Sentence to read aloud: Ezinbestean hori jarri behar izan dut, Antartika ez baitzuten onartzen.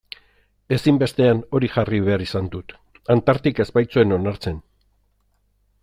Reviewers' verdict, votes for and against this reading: rejected, 0, 2